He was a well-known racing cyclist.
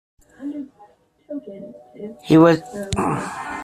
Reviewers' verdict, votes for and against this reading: rejected, 0, 2